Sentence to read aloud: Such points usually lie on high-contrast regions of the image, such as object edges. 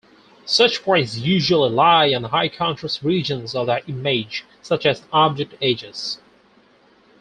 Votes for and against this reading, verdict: 4, 0, accepted